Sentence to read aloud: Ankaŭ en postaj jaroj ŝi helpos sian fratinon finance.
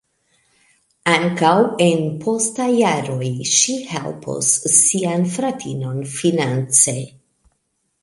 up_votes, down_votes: 0, 2